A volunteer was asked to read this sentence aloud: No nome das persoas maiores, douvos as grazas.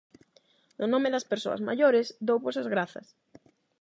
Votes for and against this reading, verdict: 8, 0, accepted